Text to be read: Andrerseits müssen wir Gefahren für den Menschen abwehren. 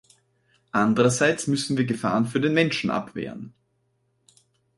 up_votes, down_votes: 4, 0